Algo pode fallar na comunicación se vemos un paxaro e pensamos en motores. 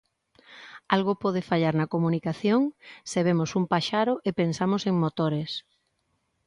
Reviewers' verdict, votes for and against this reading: accepted, 2, 0